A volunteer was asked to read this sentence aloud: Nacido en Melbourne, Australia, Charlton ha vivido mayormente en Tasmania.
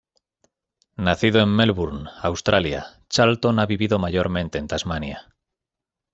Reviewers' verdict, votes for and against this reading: accepted, 2, 0